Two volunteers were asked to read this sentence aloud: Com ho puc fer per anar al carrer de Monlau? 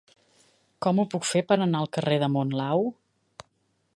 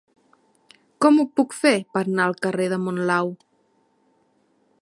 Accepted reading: first